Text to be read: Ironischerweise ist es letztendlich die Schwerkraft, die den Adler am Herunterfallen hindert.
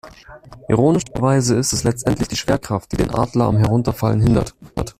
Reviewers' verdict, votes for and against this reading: rejected, 1, 2